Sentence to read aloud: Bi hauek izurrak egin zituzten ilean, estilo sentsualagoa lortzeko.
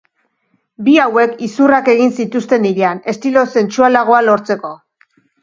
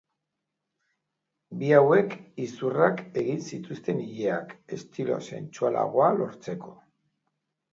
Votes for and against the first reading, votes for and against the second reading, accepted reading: 2, 0, 1, 2, first